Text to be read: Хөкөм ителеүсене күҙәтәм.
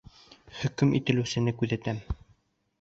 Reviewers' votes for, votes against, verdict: 2, 0, accepted